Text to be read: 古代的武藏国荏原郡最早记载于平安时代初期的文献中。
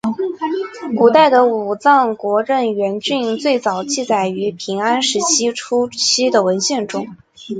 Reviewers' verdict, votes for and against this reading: accepted, 2, 1